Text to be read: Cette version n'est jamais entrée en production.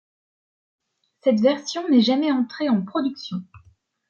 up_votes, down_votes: 2, 0